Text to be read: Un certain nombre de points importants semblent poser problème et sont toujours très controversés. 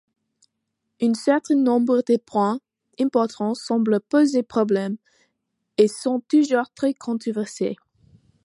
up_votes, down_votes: 1, 2